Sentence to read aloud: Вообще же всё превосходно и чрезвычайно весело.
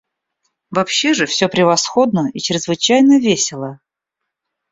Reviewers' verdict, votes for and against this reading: accepted, 2, 0